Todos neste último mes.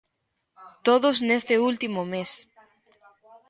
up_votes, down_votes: 0, 2